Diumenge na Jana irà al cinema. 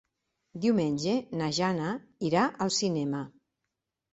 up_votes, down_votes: 3, 0